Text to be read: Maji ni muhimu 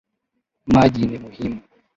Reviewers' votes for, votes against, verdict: 2, 0, accepted